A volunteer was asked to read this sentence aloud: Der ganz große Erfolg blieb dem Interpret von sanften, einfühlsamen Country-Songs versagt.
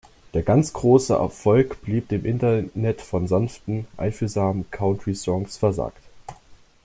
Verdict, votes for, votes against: rejected, 0, 2